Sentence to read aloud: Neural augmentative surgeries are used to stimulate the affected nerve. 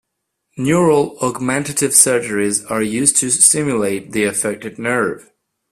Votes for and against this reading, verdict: 2, 0, accepted